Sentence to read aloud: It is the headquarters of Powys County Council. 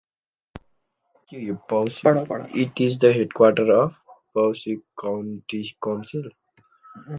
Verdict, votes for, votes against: rejected, 0, 2